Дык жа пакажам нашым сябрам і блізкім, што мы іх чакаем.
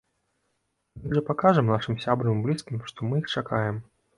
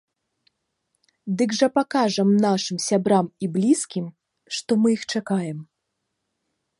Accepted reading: second